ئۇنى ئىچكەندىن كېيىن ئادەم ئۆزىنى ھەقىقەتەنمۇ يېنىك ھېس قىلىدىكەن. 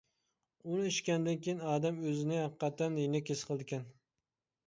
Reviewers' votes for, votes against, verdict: 0, 2, rejected